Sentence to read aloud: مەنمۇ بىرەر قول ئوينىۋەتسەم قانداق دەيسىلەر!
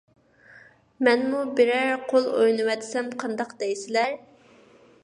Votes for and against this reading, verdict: 2, 1, accepted